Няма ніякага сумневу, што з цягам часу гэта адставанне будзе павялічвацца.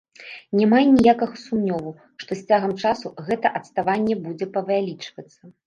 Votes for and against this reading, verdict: 1, 2, rejected